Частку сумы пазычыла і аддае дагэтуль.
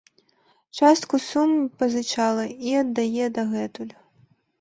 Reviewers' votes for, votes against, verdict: 1, 2, rejected